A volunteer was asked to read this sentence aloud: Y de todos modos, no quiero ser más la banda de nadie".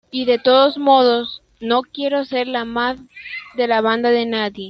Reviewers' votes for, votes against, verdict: 0, 2, rejected